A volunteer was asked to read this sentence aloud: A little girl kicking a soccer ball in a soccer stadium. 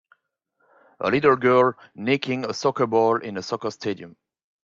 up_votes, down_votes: 2, 3